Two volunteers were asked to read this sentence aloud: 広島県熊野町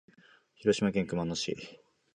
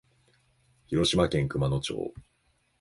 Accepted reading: second